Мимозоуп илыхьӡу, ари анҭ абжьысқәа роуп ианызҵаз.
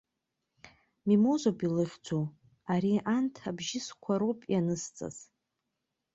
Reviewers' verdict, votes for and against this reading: accepted, 2, 0